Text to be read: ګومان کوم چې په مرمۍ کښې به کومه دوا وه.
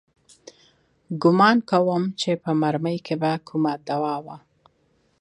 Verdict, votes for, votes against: accepted, 2, 0